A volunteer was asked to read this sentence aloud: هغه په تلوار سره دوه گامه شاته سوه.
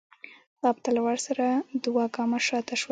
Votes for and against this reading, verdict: 1, 2, rejected